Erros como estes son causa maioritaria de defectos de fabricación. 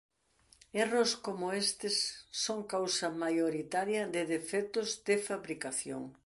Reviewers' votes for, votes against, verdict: 2, 0, accepted